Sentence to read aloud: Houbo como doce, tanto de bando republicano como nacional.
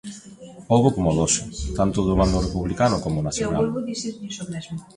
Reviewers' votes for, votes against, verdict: 1, 2, rejected